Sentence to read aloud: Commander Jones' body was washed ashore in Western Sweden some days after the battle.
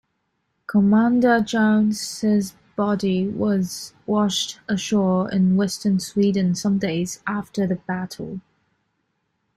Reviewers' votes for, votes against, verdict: 2, 0, accepted